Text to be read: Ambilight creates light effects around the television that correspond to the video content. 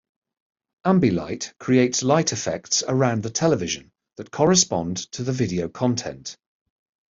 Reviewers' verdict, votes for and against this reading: accepted, 2, 0